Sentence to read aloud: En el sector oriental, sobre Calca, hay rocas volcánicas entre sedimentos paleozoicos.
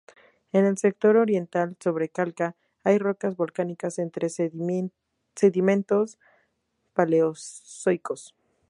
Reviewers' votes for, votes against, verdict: 0, 4, rejected